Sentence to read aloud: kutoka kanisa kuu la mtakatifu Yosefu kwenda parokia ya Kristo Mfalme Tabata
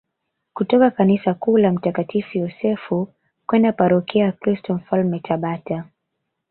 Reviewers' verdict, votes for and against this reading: rejected, 0, 2